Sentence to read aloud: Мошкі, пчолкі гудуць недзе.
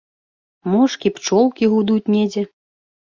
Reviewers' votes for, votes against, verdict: 2, 0, accepted